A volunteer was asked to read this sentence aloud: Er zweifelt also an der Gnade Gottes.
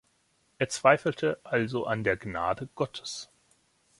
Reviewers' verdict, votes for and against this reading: rejected, 1, 2